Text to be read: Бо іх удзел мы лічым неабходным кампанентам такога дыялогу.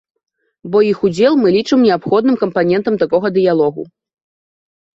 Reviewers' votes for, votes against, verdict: 2, 0, accepted